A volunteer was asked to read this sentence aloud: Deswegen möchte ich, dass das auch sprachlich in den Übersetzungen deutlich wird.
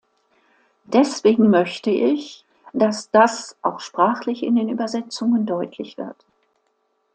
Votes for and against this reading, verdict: 2, 0, accepted